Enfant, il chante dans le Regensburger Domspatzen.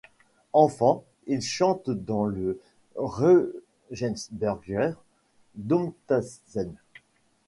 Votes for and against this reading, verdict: 1, 2, rejected